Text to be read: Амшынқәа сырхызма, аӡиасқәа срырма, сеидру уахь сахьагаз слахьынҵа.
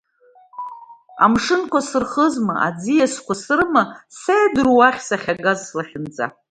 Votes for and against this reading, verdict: 1, 2, rejected